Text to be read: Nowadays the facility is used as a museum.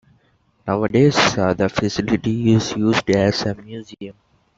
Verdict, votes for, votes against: rejected, 0, 2